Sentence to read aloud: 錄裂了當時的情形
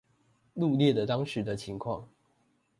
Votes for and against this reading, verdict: 1, 2, rejected